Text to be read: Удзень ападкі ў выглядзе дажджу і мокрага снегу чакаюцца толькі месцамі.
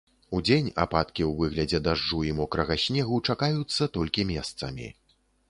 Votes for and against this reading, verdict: 2, 0, accepted